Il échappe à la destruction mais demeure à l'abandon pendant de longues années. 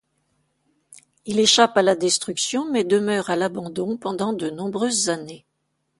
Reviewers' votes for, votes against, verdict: 1, 2, rejected